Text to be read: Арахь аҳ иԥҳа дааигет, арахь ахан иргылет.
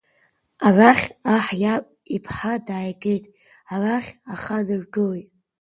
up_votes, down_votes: 1, 2